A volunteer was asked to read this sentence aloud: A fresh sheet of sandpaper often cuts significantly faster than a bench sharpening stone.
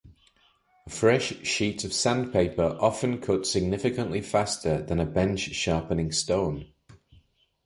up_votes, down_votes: 1, 2